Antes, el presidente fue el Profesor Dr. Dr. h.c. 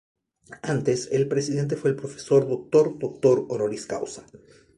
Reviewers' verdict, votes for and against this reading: accepted, 2, 0